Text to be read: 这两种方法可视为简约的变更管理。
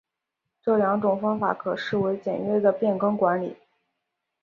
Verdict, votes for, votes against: accepted, 2, 0